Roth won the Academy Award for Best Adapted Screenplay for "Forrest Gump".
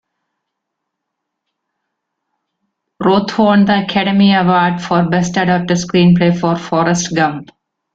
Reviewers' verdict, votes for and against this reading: accepted, 2, 1